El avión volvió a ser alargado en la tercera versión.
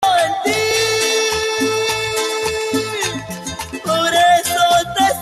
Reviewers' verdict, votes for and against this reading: rejected, 0, 3